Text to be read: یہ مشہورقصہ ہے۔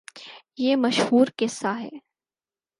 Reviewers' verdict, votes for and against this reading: accepted, 4, 0